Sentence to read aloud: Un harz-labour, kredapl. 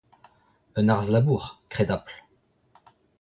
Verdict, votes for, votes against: rejected, 1, 2